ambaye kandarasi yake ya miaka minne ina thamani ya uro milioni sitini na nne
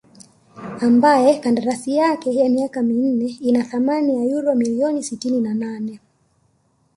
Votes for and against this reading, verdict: 0, 2, rejected